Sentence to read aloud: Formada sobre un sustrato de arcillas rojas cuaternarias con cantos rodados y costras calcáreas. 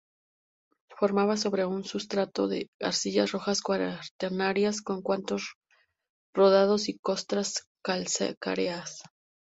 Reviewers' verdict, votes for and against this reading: accepted, 2, 0